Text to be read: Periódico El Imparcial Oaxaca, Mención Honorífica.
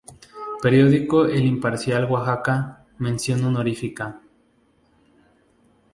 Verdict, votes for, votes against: rejected, 0, 2